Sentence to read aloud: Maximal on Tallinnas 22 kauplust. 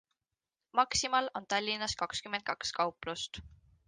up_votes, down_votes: 0, 2